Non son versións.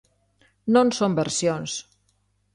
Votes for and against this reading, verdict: 2, 0, accepted